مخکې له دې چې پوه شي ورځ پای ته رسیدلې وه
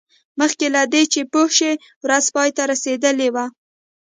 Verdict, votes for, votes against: rejected, 1, 2